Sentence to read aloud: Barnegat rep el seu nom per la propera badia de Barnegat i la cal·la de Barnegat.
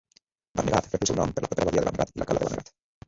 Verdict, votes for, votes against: rejected, 1, 2